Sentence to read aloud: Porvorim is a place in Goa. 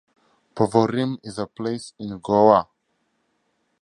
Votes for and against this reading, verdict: 6, 0, accepted